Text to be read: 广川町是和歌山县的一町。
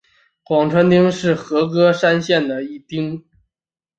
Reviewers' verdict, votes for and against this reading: accepted, 2, 0